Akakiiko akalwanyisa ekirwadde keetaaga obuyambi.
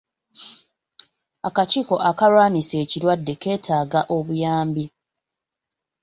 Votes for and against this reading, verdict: 2, 0, accepted